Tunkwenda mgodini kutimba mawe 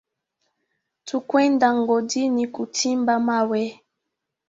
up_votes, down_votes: 0, 2